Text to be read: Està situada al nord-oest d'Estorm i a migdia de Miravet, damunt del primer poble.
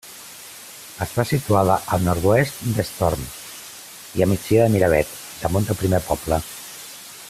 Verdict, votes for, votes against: accepted, 2, 0